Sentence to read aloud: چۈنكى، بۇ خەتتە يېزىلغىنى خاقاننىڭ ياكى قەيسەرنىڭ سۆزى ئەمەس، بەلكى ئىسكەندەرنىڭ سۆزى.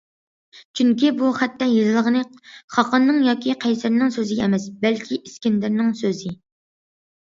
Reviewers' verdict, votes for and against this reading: accepted, 2, 0